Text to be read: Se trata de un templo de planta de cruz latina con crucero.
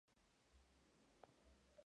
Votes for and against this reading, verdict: 0, 2, rejected